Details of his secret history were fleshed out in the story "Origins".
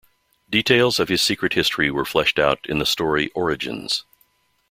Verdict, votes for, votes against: accepted, 2, 0